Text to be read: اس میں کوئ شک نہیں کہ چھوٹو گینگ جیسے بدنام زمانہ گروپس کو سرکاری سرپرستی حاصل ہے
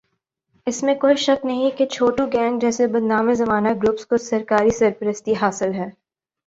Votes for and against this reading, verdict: 3, 0, accepted